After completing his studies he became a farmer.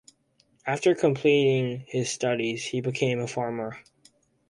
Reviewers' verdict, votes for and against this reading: accepted, 4, 0